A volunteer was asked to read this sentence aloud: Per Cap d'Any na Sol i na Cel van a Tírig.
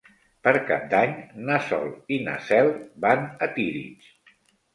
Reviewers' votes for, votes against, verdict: 2, 0, accepted